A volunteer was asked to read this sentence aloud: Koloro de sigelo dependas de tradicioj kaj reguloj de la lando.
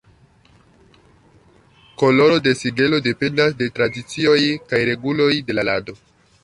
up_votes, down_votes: 2, 0